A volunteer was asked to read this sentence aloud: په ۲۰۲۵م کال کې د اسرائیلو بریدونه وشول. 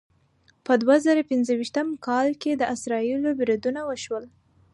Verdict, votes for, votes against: rejected, 0, 2